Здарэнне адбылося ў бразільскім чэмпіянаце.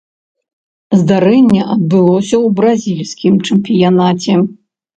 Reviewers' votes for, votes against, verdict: 2, 0, accepted